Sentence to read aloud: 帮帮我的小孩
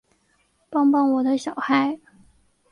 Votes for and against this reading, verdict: 2, 0, accepted